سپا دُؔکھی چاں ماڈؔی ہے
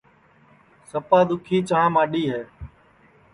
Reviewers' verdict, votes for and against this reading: accepted, 2, 0